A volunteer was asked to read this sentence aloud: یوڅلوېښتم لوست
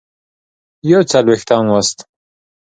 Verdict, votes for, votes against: accepted, 3, 0